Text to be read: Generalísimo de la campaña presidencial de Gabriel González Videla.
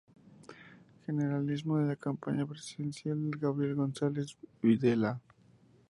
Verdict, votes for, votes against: accepted, 2, 0